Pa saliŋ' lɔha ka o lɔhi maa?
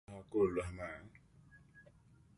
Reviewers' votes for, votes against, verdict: 0, 2, rejected